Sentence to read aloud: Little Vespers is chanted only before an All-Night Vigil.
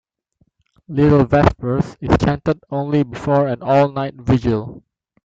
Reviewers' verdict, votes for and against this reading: accepted, 2, 1